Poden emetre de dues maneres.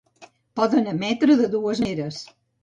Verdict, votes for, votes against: rejected, 0, 2